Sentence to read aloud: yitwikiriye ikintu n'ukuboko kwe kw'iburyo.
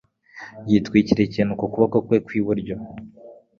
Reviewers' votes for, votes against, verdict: 3, 0, accepted